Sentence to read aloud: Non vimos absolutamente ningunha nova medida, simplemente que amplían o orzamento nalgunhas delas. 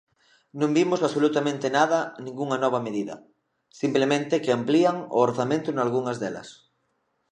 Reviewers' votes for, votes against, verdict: 1, 2, rejected